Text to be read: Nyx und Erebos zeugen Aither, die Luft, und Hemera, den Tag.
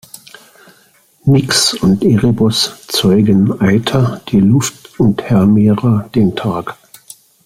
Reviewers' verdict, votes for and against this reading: accepted, 3, 0